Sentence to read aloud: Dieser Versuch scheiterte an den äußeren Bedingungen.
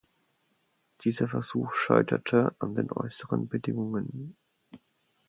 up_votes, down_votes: 4, 0